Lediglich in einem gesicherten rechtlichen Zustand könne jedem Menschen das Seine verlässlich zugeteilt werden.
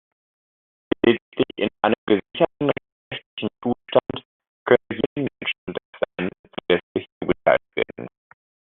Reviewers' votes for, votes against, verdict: 0, 2, rejected